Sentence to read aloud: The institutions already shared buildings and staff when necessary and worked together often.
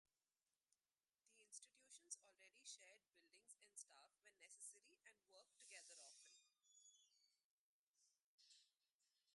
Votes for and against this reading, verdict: 0, 2, rejected